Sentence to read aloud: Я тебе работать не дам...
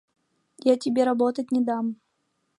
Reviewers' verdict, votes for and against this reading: accepted, 2, 0